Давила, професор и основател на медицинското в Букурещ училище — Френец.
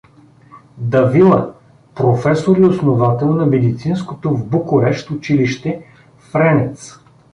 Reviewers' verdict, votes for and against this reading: rejected, 0, 2